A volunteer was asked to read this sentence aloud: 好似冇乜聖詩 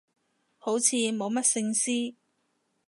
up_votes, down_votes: 2, 0